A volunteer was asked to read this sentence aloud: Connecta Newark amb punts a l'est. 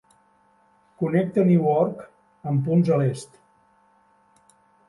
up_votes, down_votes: 3, 1